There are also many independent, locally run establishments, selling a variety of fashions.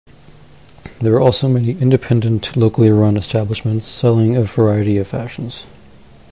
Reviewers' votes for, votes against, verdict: 2, 0, accepted